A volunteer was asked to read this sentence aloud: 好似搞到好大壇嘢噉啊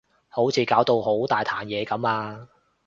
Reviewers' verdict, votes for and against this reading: accepted, 2, 0